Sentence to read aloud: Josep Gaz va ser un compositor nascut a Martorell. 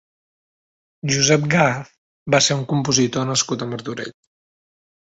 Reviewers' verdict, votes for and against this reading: accepted, 3, 0